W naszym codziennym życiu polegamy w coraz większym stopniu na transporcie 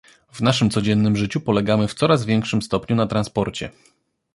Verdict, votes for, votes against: accepted, 2, 0